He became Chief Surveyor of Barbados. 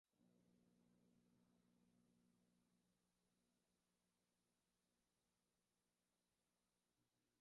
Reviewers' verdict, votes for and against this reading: rejected, 0, 2